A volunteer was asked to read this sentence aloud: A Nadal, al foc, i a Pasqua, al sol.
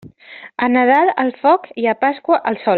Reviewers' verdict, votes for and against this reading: accepted, 3, 0